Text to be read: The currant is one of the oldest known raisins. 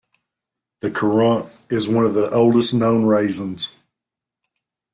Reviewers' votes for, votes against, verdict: 1, 2, rejected